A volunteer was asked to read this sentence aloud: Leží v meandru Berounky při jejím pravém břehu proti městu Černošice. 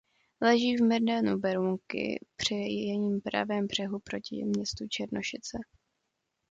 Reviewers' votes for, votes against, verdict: 0, 2, rejected